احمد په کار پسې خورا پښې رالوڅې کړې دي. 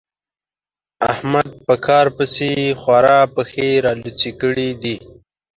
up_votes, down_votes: 2, 0